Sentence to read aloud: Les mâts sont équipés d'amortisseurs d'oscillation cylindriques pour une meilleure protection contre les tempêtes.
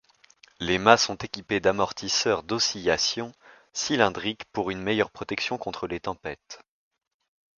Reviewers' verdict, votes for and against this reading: accepted, 2, 0